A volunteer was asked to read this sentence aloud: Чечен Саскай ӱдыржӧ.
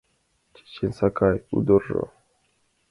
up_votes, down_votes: 0, 2